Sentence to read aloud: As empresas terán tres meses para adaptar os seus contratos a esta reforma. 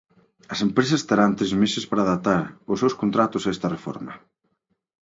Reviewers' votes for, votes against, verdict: 28, 0, accepted